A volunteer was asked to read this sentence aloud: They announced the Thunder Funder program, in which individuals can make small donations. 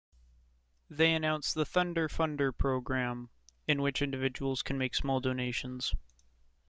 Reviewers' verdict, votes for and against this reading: accepted, 2, 0